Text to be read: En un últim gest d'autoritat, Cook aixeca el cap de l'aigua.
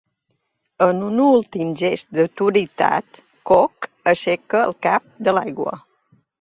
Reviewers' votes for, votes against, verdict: 2, 0, accepted